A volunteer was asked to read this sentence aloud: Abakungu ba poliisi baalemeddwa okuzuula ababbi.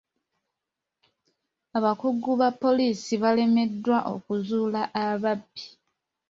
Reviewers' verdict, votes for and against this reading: rejected, 1, 2